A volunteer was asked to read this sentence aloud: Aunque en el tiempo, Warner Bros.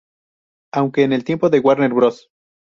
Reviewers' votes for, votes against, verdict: 0, 2, rejected